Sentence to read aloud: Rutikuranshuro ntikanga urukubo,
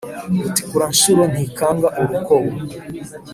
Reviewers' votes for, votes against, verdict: 2, 0, accepted